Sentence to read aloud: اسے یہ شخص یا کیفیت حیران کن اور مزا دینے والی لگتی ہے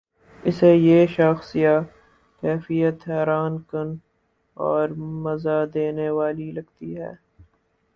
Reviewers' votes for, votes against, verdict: 4, 0, accepted